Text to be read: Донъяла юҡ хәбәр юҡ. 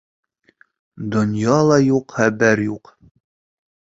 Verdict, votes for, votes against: rejected, 1, 2